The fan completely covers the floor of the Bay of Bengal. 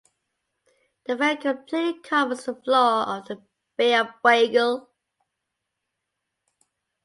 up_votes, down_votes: 0, 2